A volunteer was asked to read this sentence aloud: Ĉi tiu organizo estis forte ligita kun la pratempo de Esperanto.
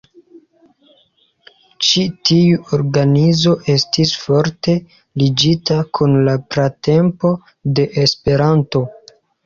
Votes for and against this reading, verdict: 0, 2, rejected